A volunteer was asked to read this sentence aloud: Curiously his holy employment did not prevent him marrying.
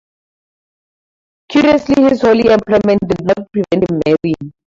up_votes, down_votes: 2, 0